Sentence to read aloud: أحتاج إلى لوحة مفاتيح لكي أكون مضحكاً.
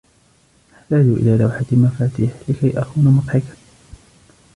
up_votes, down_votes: 2, 1